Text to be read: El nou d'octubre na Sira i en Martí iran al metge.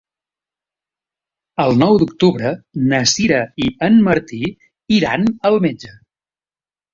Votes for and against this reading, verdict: 3, 0, accepted